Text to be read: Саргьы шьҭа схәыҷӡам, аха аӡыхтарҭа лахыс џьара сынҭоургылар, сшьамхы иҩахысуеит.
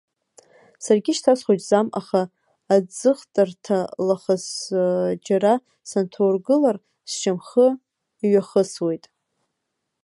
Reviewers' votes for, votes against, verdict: 1, 2, rejected